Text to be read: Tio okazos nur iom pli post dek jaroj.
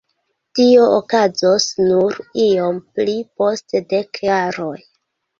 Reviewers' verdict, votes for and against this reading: accepted, 2, 0